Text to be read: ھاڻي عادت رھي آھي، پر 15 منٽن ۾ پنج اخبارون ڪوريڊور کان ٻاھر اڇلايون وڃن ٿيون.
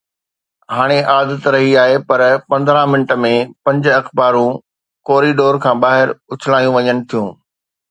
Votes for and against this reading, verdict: 0, 2, rejected